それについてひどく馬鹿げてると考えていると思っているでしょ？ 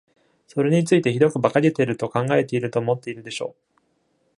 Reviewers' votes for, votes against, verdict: 2, 0, accepted